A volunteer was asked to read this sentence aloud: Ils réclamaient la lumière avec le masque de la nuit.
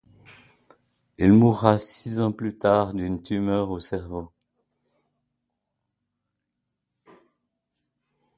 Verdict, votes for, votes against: rejected, 1, 2